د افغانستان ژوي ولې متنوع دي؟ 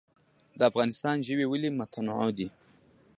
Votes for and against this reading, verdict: 2, 1, accepted